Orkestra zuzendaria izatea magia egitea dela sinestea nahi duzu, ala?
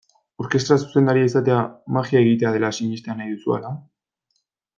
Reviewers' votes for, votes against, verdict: 2, 1, accepted